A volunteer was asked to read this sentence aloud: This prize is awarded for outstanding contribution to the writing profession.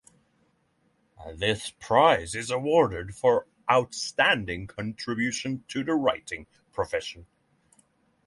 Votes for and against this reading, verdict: 3, 0, accepted